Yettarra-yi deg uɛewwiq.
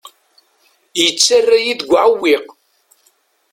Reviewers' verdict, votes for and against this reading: accepted, 2, 0